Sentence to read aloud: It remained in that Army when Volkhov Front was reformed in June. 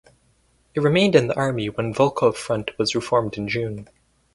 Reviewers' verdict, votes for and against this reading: rejected, 0, 2